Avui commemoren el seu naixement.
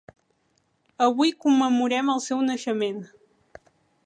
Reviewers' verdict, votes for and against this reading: rejected, 1, 2